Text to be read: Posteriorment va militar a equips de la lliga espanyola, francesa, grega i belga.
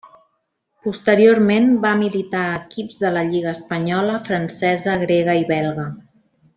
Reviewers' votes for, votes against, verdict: 2, 0, accepted